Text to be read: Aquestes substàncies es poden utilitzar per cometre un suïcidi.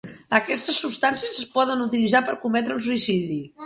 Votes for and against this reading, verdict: 2, 0, accepted